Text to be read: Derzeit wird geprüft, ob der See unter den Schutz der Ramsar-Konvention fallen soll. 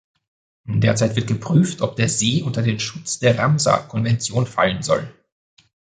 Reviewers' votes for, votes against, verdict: 2, 0, accepted